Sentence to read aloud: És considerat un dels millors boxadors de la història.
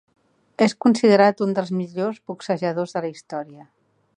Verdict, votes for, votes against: rejected, 0, 2